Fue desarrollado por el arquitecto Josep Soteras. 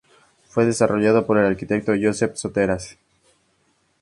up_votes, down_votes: 4, 0